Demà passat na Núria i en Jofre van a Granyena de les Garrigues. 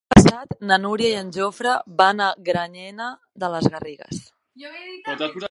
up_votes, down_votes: 0, 3